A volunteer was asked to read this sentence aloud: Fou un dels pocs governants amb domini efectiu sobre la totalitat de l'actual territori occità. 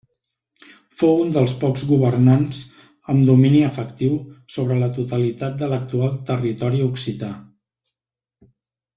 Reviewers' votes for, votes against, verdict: 3, 0, accepted